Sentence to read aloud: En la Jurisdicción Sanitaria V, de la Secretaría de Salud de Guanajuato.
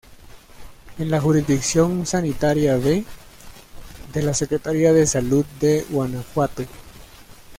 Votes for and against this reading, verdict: 1, 2, rejected